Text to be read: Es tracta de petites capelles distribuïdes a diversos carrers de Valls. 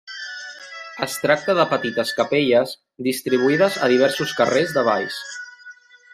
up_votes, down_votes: 1, 2